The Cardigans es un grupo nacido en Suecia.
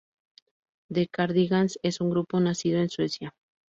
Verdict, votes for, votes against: accepted, 2, 0